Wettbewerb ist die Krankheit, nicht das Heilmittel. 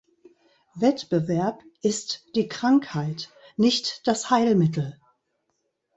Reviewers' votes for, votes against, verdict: 2, 0, accepted